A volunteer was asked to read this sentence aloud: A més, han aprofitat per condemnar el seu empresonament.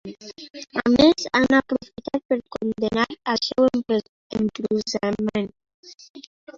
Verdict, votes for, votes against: rejected, 0, 2